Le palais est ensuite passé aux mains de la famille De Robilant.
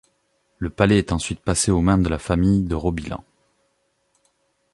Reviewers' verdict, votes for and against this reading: accepted, 2, 0